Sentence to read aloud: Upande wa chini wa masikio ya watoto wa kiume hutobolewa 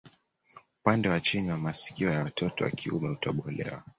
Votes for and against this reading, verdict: 2, 1, accepted